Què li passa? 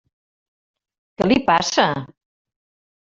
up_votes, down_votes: 1, 2